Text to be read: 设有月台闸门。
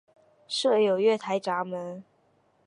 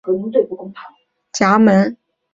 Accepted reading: first